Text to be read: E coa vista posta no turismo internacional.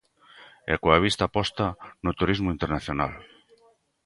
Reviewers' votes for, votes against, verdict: 2, 0, accepted